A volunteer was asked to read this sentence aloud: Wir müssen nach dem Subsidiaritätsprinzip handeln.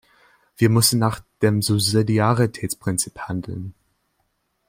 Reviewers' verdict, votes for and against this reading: rejected, 1, 2